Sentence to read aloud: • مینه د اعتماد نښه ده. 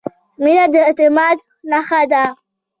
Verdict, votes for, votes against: accepted, 2, 1